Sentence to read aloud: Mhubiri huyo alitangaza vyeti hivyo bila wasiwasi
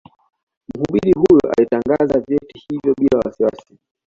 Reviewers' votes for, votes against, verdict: 2, 1, accepted